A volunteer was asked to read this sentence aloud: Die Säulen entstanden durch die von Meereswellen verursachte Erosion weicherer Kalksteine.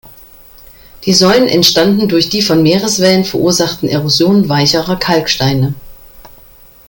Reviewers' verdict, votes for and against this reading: rejected, 0, 2